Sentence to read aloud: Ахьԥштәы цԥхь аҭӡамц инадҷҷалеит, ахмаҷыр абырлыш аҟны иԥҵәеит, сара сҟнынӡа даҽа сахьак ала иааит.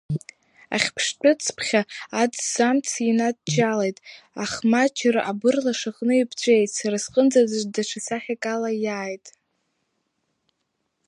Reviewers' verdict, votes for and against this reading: rejected, 1, 2